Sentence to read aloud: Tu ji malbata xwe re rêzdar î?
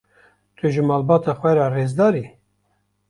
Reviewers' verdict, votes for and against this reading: rejected, 1, 2